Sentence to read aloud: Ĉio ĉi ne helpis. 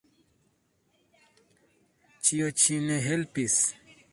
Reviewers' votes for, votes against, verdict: 1, 2, rejected